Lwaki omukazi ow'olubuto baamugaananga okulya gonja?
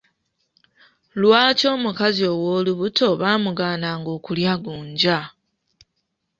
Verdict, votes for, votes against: accepted, 2, 1